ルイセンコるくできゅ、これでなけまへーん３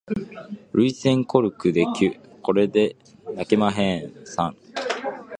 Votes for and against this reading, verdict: 0, 2, rejected